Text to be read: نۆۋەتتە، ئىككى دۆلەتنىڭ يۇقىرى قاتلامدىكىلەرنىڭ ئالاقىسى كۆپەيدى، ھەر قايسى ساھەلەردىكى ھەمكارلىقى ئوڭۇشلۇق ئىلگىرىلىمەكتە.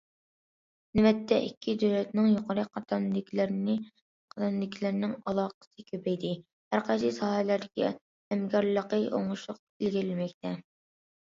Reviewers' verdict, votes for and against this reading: rejected, 0, 2